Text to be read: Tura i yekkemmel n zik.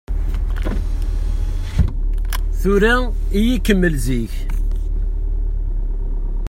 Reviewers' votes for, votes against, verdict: 0, 2, rejected